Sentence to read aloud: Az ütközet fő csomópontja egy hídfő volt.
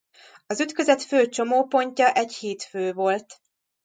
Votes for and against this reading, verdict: 2, 0, accepted